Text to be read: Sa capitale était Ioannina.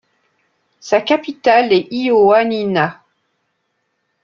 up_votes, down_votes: 0, 2